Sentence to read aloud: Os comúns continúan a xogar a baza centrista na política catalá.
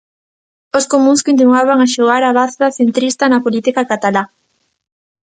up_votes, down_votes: 0, 2